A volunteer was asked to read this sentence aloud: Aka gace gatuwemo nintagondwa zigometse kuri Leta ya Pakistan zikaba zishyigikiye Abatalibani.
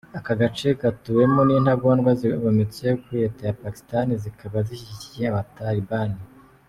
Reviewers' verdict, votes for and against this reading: accepted, 3, 0